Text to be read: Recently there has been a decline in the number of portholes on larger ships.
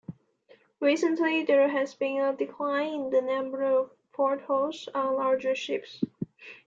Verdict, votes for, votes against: accepted, 2, 0